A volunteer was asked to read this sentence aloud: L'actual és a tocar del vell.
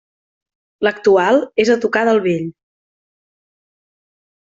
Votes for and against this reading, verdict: 3, 0, accepted